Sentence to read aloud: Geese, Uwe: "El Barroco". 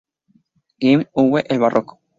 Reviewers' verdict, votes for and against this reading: accepted, 2, 0